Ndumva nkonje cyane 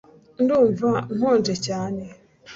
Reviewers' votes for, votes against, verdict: 2, 0, accepted